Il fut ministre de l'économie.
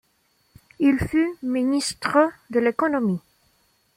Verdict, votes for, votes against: accepted, 2, 0